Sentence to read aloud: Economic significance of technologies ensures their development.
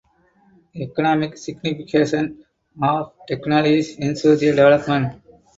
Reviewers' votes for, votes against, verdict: 2, 4, rejected